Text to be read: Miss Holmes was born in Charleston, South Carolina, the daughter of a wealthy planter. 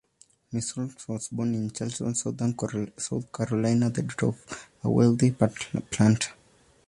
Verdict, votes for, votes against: rejected, 0, 2